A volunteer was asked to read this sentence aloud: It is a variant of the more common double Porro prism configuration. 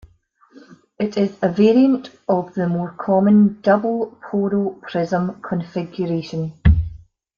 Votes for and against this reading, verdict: 2, 3, rejected